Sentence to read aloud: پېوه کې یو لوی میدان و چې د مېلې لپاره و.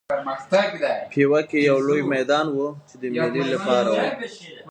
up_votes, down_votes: 0, 2